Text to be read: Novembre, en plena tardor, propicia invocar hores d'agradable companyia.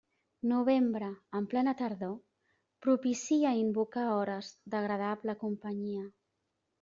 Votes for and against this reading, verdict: 0, 2, rejected